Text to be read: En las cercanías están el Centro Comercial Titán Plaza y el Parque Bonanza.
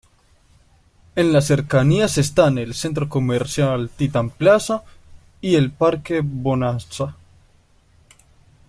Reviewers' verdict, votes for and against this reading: accepted, 2, 1